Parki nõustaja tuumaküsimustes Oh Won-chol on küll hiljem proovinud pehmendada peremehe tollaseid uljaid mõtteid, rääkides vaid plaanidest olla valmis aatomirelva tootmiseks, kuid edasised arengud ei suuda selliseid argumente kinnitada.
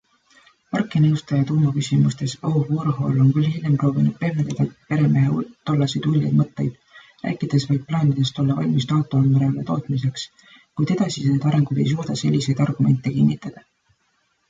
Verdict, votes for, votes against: rejected, 0, 2